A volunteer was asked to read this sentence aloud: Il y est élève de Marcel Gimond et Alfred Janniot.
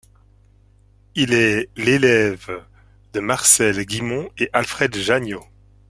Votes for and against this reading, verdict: 1, 2, rejected